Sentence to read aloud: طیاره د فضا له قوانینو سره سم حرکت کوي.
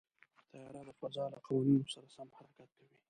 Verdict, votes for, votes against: rejected, 0, 2